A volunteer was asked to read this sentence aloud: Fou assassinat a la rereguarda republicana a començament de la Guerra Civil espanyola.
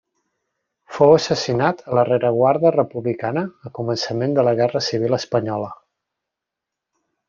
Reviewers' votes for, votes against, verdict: 2, 0, accepted